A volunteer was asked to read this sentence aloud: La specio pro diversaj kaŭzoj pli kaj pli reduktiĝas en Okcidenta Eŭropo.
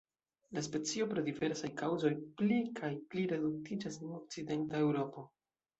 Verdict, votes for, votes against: accepted, 2, 0